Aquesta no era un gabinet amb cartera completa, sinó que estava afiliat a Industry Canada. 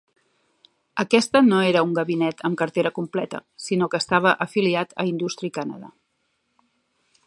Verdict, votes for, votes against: accepted, 3, 1